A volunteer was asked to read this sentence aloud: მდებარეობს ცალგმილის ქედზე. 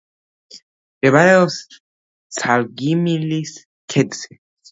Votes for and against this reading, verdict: 0, 2, rejected